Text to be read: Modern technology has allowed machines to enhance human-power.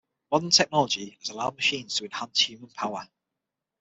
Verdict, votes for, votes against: accepted, 6, 3